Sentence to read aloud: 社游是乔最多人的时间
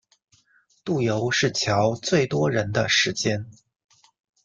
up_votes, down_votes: 0, 2